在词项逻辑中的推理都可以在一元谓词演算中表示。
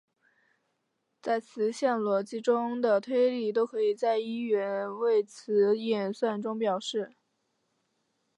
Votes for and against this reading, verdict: 2, 0, accepted